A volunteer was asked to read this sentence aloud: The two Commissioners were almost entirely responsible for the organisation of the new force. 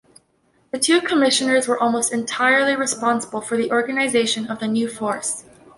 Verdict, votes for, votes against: accepted, 2, 0